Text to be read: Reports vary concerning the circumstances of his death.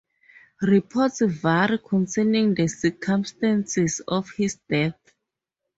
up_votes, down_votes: 0, 4